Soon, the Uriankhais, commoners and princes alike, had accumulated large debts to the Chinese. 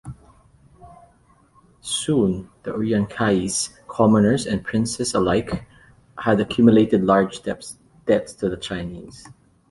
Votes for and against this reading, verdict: 1, 2, rejected